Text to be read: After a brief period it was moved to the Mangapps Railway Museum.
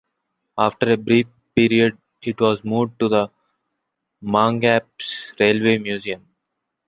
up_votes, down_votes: 2, 1